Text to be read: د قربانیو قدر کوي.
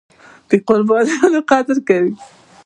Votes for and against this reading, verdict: 1, 2, rejected